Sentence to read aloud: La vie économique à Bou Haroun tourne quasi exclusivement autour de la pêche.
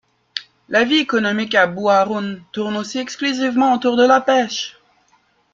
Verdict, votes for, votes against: rejected, 0, 2